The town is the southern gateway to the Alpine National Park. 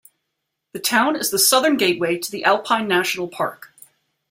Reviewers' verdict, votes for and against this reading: accepted, 2, 0